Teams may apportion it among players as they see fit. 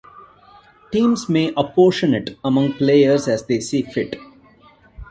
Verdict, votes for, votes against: accepted, 2, 0